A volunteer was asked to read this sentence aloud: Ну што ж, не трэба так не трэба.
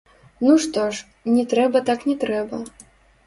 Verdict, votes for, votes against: rejected, 0, 2